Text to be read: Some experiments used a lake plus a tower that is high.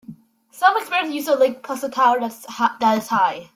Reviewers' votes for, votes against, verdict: 0, 2, rejected